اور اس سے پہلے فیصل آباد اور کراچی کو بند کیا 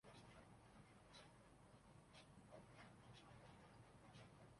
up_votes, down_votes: 0, 2